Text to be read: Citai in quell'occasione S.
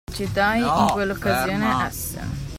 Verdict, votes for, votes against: rejected, 0, 2